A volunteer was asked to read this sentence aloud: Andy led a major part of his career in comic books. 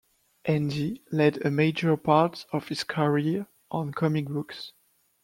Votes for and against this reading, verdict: 0, 2, rejected